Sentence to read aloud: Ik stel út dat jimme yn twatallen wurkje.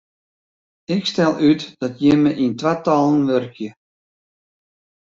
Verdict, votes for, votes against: accepted, 2, 0